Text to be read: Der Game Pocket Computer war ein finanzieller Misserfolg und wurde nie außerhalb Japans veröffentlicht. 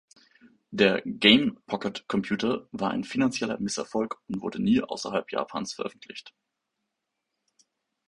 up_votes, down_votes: 2, 0